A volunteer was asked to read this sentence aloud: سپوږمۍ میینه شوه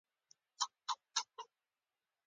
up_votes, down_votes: 1, 2